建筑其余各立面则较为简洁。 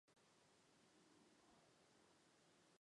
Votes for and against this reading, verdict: 0, 4, rejected